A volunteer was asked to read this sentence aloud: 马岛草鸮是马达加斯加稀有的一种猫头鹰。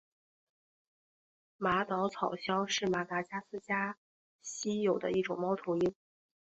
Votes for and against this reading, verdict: 1, 2, rejected